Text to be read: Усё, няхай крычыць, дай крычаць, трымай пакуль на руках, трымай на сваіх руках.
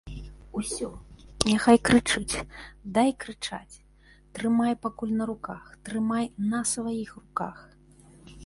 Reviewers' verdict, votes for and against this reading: accepted, 2, 0